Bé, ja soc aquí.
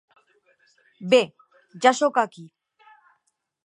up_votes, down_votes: 3, 0